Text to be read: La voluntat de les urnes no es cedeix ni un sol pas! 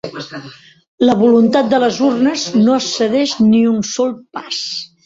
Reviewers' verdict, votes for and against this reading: rejected, 1, 2